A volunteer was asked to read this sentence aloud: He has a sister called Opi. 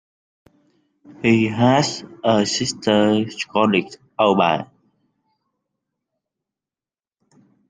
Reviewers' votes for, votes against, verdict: 1, 2, rejected